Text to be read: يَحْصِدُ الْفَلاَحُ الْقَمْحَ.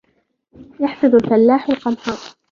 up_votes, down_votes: 1, 2